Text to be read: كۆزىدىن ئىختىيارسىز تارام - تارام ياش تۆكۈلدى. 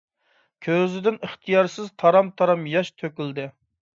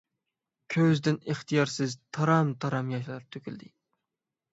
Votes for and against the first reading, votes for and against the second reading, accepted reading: 2, 0, 0, 6, first